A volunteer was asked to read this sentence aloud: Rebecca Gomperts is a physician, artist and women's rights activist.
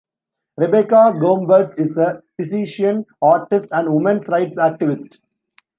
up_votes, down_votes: 1, 2